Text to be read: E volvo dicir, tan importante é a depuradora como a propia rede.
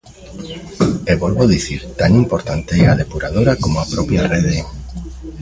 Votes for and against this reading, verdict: 1, 2, rejected